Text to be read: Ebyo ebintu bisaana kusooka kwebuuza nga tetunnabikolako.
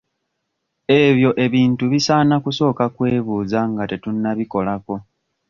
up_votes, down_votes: 2, 0